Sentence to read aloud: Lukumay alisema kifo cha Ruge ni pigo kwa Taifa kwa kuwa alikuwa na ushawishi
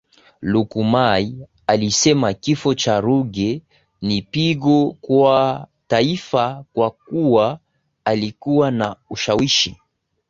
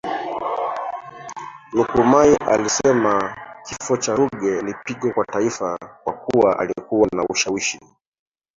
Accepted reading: first